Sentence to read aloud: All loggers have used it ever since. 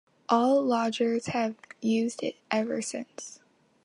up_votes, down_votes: 2, 1